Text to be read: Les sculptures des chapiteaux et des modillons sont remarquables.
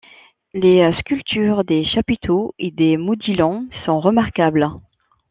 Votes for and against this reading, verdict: 1, 2, rejected